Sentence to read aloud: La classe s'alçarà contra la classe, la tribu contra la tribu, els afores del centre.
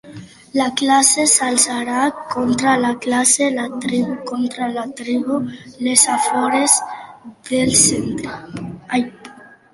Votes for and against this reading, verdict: 1, 2, rejected